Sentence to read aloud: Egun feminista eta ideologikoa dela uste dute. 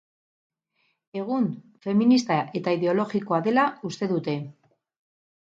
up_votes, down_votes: 4, 0